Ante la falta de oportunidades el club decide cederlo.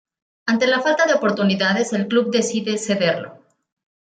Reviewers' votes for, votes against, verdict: 2, 0, accepted